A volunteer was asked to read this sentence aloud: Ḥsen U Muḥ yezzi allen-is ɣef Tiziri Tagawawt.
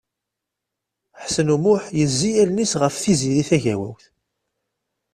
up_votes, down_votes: 2, 0